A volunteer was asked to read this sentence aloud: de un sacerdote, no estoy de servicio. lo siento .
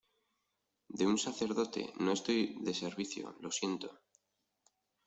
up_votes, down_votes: 2, 0